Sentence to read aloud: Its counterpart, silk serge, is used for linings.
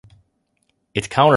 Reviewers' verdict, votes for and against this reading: rejected, 1, 2